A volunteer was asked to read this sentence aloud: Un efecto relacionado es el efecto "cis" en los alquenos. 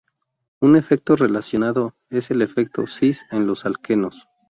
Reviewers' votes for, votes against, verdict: 2, 0, accepted